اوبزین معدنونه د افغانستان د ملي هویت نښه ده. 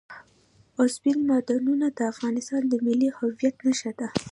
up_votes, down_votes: 2, 0